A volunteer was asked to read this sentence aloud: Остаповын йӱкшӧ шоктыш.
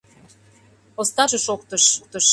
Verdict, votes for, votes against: rejected, 0, 2